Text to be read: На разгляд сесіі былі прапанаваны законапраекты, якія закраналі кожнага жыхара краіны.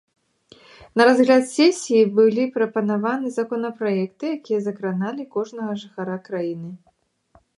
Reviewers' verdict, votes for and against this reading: accepted, 2, 1